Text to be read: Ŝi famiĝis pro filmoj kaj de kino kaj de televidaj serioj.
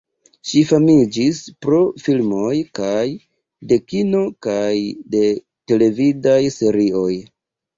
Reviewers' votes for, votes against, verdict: 2, 0, accepted